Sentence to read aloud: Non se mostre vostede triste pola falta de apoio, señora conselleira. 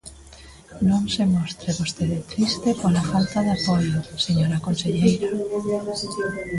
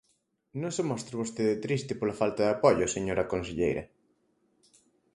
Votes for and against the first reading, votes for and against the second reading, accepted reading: 1, 3, 4, 0, second